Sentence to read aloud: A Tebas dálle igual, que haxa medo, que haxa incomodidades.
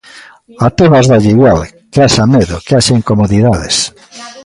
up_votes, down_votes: 1, 2